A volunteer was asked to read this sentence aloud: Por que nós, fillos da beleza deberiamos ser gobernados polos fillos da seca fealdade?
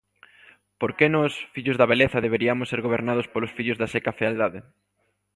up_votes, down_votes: 2, 0